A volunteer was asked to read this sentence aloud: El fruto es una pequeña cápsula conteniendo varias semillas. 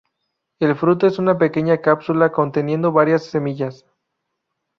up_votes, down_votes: 2, 0